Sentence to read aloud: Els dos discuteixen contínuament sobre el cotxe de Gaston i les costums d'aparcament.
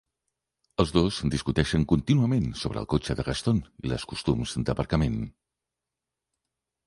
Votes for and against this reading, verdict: 4, 0, accepted